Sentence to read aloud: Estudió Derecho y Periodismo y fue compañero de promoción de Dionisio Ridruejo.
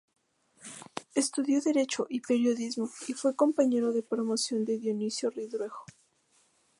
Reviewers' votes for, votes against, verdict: 2, 0, accepted